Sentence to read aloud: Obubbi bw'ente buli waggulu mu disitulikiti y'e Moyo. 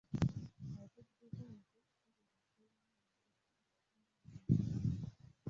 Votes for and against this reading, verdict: 0, 2, rejected